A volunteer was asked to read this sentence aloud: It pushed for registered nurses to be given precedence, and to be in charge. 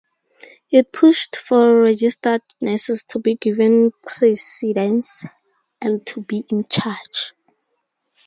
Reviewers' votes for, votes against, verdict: 2, 2, rejected